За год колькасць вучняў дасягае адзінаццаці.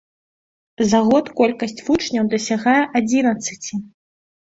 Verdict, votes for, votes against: rejected, 0, 2